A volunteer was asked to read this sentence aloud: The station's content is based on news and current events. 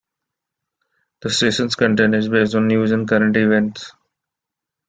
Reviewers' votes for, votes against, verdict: 2, 0, accepted